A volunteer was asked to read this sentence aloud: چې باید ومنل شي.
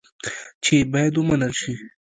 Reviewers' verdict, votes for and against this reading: rejected, 1, 2